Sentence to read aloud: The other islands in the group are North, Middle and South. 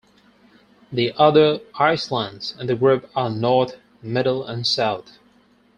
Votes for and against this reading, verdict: 2, 4, rejected